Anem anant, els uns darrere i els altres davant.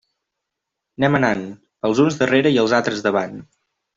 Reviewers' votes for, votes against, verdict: 3, 0, accepted